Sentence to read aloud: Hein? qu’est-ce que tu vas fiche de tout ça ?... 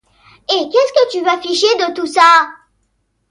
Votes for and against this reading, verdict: 2, 0, accepted